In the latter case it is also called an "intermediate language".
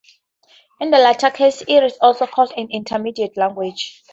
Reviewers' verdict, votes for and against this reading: accepted, 2, 0